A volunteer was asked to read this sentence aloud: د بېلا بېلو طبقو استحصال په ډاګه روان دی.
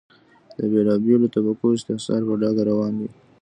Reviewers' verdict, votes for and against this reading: rejected, 1, 2